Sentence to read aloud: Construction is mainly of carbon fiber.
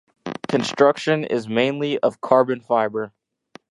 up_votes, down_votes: 0, 2